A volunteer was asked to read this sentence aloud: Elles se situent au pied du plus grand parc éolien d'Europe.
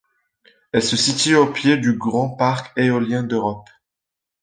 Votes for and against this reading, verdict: 0, 2, rejected